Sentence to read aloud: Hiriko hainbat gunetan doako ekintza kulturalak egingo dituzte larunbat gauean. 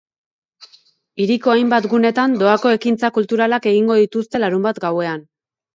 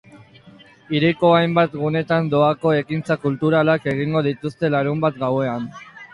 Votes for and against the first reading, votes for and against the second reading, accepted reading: 2, 0, 0, 2, first